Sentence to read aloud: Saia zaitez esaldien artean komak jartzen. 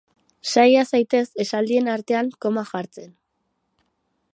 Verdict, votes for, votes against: accepted, 8, 2